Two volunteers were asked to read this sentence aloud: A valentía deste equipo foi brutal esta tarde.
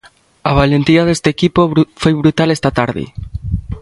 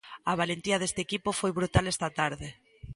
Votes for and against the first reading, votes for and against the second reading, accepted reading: 1, 2, 2, 0, second